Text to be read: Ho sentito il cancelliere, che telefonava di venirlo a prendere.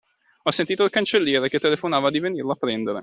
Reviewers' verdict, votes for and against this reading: accepted, 2, 0